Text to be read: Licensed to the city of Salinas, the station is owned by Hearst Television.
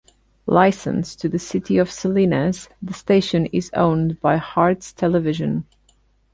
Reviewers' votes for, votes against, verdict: 0, 2, rejected